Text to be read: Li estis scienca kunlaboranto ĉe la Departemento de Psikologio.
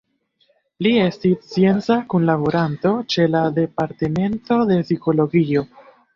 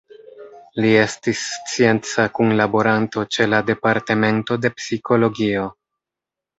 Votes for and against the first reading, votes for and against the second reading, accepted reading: 1, 2, 2, 0, second